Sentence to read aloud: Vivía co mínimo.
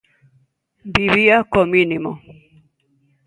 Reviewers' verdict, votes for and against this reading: accepted, 2, 0